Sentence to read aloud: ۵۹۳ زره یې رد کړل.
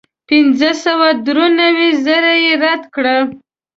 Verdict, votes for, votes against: rejected, 0, 2